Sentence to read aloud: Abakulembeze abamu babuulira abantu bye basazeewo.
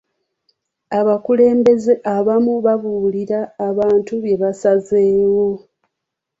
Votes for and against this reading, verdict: 2, 1, accepted